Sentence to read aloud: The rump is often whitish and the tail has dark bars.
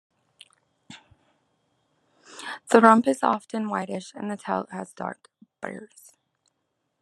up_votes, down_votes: 2, 0